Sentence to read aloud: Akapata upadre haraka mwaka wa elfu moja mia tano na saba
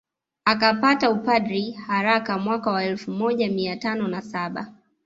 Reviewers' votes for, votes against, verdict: 2, 0, accepted